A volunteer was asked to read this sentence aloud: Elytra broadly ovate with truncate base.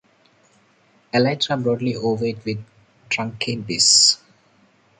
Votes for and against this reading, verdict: 2, 0, accepted